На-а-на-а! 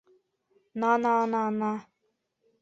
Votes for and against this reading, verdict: 1, 2, rejected